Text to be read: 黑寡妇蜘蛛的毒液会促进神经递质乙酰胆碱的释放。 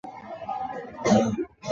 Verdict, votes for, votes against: rejected, 0, 2